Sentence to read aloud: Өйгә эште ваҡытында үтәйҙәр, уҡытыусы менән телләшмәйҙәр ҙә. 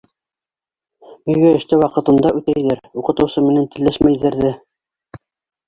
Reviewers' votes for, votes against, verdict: 1, 2, rejected